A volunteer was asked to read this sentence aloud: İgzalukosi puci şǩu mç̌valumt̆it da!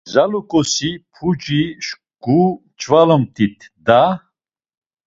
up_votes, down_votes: 2, 0